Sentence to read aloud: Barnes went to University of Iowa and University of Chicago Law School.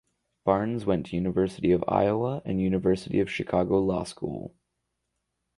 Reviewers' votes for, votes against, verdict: 2, 2, rejected